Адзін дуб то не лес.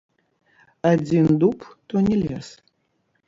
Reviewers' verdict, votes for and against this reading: rejected, 0, 2